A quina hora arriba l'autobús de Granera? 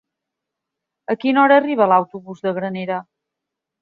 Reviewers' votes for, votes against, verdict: 3, 0, accepted